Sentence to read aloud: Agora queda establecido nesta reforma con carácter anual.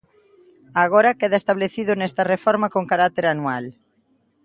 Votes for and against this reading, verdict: 2, 0, accepted